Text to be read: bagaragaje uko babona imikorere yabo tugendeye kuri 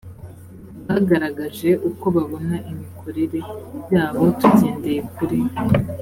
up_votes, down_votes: 2, 0